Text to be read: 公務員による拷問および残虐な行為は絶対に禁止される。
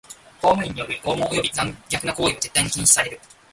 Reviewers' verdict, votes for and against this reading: rejected, 1, 2